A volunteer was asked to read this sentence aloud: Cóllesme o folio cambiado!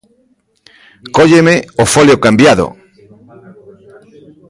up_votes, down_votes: 0, 2